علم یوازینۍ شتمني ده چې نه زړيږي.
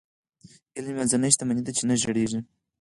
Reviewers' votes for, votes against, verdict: 2, 4, rejected